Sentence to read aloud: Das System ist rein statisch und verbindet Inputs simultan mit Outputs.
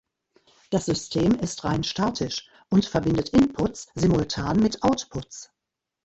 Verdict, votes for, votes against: rejected, 1, 2